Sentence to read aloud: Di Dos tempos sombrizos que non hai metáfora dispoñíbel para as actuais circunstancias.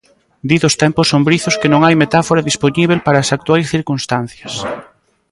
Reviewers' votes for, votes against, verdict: 2, 1, accepted